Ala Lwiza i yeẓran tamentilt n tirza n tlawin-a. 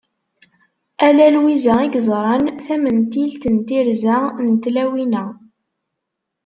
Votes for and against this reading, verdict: 2, 0, accepted